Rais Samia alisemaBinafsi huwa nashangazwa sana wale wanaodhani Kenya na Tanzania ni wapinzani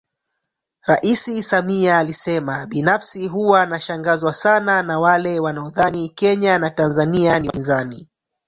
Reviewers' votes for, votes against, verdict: 0, 3, rejected